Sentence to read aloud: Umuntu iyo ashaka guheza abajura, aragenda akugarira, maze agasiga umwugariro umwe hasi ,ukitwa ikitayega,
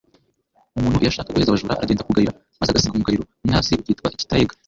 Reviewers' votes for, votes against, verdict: 1, 2, rejected